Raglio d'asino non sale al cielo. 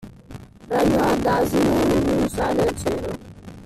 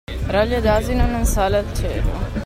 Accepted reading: second